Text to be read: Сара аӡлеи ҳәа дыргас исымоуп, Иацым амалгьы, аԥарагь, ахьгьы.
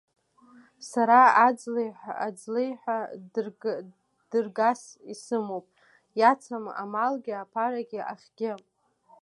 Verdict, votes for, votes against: rejected, 0, 2